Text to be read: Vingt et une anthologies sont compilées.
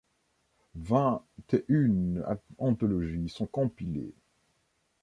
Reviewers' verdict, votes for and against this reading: rejected, 0, 2